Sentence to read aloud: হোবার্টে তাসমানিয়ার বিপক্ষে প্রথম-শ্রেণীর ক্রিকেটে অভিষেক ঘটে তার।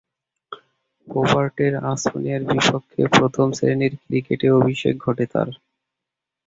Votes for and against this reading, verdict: 0, 2, rejected